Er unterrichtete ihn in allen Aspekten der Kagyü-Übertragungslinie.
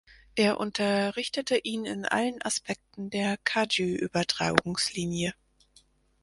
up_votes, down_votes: 4, 2